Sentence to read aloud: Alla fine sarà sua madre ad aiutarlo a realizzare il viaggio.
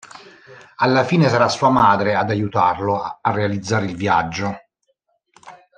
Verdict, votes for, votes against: rejected, 1, 2